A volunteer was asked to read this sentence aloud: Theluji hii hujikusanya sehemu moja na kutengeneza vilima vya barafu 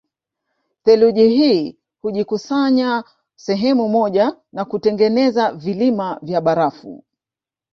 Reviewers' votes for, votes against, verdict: 1, 2, rejected